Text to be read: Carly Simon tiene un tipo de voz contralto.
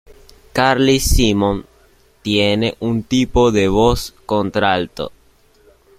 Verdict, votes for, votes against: accepted, 2, 0